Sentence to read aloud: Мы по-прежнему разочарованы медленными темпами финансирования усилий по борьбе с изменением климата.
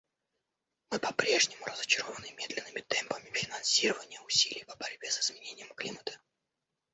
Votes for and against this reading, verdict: 1, 2, rejected